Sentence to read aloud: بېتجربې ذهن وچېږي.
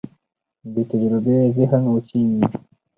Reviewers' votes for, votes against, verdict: 4, 2, accepted